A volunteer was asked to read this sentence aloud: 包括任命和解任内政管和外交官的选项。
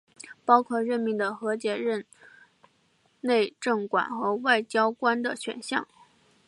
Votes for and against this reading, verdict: 0, 2, rejected